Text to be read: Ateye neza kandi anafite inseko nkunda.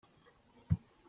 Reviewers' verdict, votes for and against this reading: rejected, 0, 2